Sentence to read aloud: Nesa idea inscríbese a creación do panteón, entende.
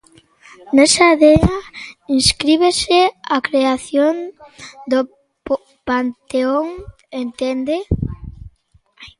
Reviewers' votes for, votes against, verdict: 0, 2, rejected